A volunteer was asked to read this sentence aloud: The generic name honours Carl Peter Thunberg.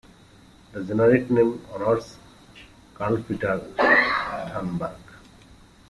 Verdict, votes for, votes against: rejected, 0, 2